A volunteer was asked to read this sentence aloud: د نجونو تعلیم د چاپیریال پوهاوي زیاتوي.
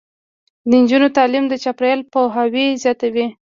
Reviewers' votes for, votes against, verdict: 0, 2, rejected